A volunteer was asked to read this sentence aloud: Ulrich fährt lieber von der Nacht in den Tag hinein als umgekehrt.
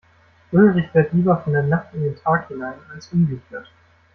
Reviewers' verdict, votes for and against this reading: rejected, 0, 2